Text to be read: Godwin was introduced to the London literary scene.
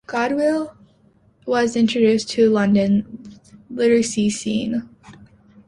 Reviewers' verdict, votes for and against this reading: rejected, 0, 2